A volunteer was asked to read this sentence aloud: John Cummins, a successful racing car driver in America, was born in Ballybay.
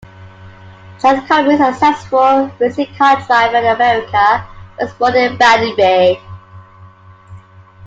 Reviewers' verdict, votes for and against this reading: rejected, 0, 2